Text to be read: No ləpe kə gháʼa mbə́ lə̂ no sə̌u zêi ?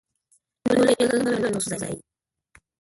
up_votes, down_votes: 0, 2